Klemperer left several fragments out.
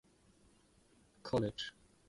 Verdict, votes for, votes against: rejected, 0, 2